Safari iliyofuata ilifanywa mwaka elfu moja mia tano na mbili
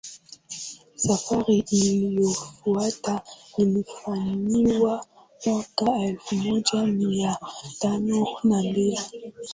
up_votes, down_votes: 2, 0